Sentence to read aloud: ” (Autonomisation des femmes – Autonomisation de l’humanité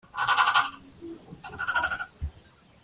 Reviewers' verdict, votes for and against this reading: rejected, 0, 2